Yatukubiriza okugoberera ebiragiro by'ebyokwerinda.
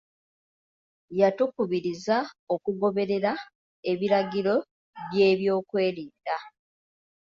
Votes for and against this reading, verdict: 2, 0, accepted